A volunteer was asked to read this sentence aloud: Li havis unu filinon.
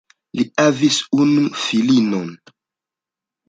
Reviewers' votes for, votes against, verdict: 0, 2, rejected